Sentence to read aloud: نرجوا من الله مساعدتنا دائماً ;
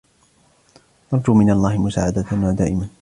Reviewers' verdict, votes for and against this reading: rejected, 1, 2